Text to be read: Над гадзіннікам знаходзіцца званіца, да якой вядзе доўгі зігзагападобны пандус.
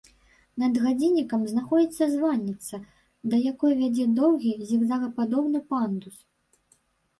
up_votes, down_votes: 1, 3